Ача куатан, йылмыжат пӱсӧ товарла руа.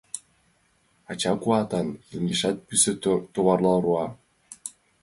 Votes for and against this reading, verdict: 0, 2, rejected